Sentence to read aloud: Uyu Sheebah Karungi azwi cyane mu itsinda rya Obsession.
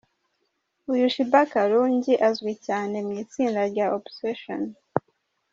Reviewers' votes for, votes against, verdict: 2, 0, accepted